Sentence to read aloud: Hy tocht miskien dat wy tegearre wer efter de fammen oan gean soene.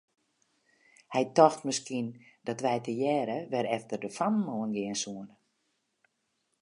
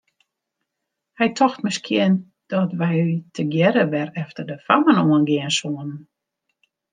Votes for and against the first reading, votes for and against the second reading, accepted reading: 2, 0, 1, 2, first